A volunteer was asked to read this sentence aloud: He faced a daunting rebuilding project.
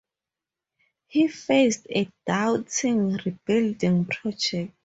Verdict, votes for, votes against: rejected, 0, 2